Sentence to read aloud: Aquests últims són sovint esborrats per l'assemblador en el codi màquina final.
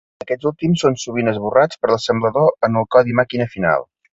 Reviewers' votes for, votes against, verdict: 2, 0, accepted